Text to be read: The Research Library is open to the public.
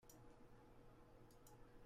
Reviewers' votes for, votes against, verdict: 1, 2, rejected